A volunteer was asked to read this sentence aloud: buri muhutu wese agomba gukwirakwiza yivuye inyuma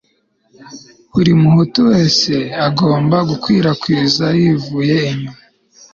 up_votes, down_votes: 3, 0